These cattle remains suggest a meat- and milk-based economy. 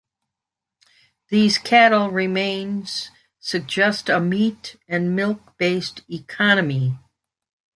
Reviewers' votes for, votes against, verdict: 3, 0, accepted